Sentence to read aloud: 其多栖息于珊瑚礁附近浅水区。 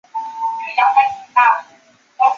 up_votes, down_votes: 0, 2